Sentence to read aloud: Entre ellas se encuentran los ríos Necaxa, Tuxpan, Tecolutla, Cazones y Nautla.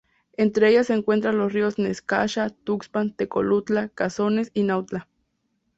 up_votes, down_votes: 2, 0